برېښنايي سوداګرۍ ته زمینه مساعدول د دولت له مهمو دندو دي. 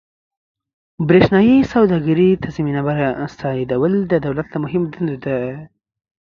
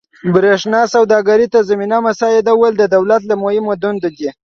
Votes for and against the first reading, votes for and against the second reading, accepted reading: 4, 3, 1, 2, first